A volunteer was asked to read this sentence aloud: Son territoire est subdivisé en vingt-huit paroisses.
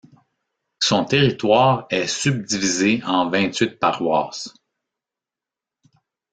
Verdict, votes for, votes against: accepted, 2, 0